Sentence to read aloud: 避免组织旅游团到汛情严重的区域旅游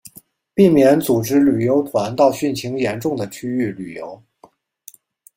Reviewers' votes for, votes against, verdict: 2, 1, accepted